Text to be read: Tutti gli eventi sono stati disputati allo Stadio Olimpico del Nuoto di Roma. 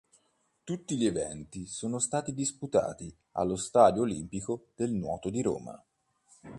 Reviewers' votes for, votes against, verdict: 2, 0, accepted